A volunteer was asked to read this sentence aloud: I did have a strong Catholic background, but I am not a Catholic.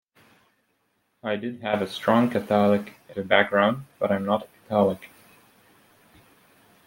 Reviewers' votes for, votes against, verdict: 2, 0, accepted